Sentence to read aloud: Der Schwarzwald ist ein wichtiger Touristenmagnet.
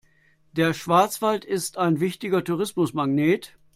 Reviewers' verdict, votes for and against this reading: rejected, 0, 2